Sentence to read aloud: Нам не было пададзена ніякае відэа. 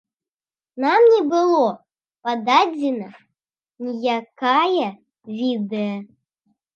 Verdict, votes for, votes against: rejected, 0, 2